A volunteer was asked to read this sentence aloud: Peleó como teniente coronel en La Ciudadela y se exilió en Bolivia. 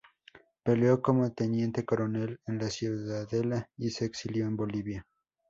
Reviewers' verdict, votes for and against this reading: accepted, 4, 0